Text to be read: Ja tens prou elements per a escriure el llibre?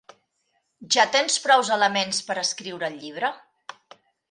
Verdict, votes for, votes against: rejected, 0, 2